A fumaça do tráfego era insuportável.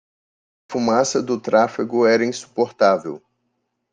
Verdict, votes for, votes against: rejected, 0, 2